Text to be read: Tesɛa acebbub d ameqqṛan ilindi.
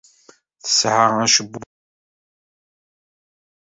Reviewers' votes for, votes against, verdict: 0, 2, rejected